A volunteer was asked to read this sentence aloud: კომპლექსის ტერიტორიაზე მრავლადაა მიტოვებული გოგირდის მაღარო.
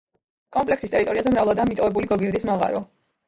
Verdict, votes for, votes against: rejected, 0, 2